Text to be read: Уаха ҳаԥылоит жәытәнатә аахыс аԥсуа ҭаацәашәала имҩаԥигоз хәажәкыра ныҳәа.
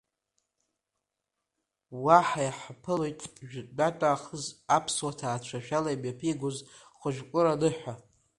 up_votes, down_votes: 1, 3